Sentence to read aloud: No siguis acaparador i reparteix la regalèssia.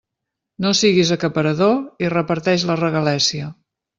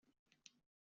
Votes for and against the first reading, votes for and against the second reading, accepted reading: 2, 0, 0, 2, first